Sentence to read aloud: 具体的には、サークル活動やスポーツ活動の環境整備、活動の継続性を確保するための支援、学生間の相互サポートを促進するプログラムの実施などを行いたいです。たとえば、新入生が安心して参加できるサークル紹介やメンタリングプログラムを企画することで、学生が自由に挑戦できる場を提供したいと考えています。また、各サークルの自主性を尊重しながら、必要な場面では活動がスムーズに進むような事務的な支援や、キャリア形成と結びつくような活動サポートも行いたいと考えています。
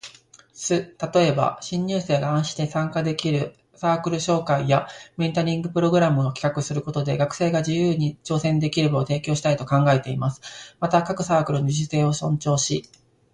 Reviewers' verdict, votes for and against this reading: rejected, 1, 2